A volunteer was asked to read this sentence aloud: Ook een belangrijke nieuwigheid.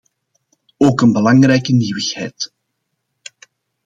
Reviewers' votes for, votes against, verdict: 2, 0, accepted